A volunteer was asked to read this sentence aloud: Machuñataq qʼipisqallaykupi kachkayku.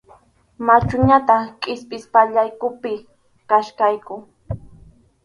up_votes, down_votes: 0, 2